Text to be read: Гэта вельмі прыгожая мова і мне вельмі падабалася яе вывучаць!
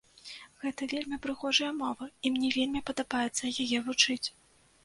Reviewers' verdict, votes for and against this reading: rejected, 0, 2